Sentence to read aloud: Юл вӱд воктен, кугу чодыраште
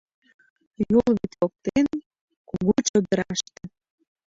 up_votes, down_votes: 2, 0